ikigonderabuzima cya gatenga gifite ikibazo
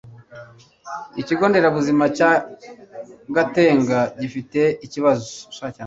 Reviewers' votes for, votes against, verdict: 0, 2, rejected